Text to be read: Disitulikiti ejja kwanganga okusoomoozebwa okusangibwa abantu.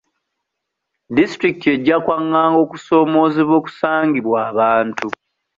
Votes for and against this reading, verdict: 2, 0, accepted